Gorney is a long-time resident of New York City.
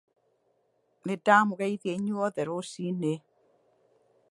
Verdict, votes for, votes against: rejected, 0, 2